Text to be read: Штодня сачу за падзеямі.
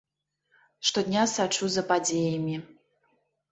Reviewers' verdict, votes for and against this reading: accepted, 3, 0